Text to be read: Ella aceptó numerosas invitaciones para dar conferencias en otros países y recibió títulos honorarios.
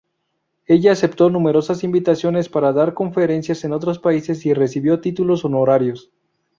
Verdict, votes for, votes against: accepted, 4, 0